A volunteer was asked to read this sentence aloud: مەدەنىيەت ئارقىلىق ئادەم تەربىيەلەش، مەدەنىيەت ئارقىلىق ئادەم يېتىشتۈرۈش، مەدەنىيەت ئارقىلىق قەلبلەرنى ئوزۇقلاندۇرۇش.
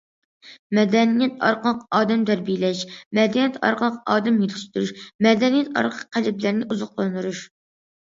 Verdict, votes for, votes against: accepted, 2, 1